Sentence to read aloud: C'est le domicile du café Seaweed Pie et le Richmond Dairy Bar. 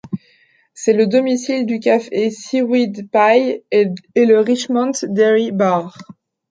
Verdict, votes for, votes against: rejected, 1, 2